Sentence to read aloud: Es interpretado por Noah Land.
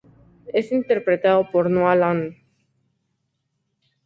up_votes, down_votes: 2, 0